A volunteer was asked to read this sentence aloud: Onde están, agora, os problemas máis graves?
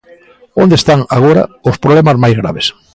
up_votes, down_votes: 2, 0